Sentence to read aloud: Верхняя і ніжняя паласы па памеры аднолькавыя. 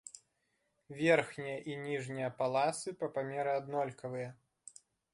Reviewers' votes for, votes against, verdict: 0, 2, rejected